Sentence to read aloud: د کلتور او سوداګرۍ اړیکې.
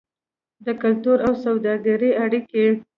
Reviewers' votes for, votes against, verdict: 1, 2, rejected